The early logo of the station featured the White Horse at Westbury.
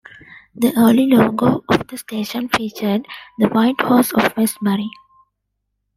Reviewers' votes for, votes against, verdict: 1, 2, rejected